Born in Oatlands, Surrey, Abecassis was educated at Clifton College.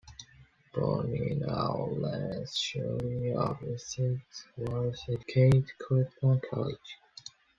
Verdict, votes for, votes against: rejected, 0, 2